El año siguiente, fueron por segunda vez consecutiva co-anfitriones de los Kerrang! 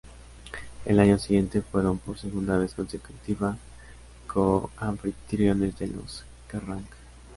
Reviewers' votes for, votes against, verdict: 0, 2, rejected